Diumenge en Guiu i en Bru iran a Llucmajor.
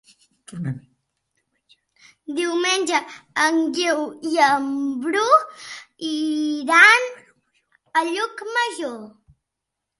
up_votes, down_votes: 3, 0